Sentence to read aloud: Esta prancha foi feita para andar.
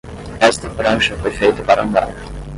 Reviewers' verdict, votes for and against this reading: rejected, 5, 5